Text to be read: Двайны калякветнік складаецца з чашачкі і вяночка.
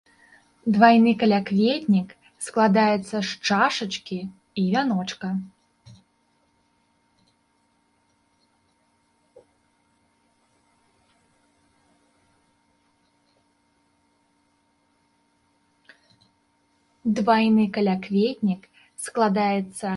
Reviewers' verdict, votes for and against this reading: rejected, 0, 3